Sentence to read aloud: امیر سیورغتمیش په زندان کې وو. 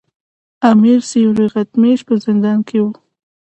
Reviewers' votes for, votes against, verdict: 2, 0, accepted